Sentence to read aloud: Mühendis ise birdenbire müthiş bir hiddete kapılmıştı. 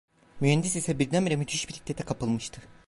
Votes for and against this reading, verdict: 0, 2, rejected